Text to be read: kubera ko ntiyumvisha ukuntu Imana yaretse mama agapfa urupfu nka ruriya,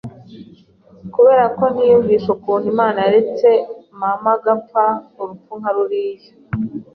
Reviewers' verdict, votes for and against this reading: accepted, 2, 0